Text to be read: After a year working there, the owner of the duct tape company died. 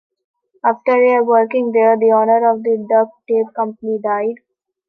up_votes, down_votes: 2, 0